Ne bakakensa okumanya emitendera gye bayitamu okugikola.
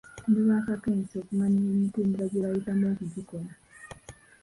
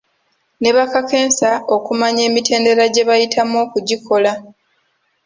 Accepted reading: second